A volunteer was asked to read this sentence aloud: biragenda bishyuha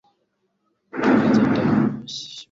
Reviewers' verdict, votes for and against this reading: rejected, 1, 2